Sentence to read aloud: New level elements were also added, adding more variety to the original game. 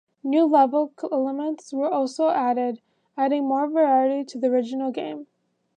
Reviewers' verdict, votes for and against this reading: rejected, 0, 2